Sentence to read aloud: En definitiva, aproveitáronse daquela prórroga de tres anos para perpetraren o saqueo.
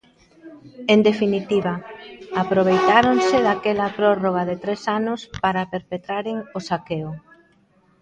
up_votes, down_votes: 1, 2